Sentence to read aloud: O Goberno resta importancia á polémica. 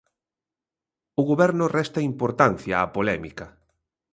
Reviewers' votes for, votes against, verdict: 2, 0, accepted